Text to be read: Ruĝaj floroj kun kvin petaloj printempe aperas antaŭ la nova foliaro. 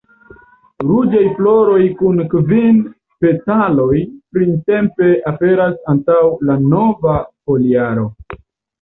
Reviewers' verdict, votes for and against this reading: accepted, 2, 1